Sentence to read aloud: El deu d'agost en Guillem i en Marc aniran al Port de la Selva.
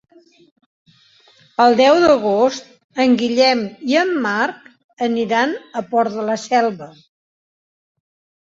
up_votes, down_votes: 0, 2